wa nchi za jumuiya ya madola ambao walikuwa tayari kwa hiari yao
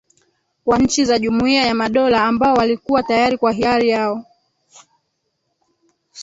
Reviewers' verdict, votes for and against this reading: rejected, 2, 3